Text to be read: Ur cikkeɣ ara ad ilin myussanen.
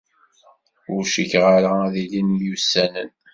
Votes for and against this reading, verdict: 2, 0, accepted